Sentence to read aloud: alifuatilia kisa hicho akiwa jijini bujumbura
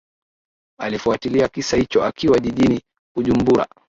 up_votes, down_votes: 3, 1